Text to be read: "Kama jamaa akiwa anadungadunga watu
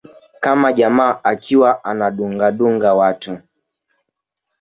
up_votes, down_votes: 2, 1